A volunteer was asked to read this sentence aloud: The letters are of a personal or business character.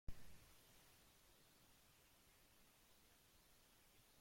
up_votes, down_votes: 0, 3